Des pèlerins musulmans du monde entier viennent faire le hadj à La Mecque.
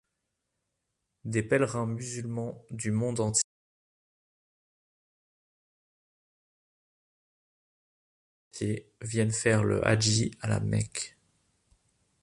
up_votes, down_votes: 0, 2